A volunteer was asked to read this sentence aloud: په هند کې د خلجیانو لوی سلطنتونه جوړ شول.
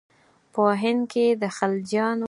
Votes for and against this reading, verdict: 0, 4, rejected